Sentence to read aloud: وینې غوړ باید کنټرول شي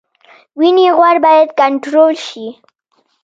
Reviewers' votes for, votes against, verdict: 2, 0, accepted